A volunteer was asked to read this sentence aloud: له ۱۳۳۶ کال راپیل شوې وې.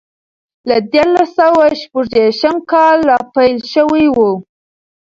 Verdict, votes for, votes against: rejected, 0, 2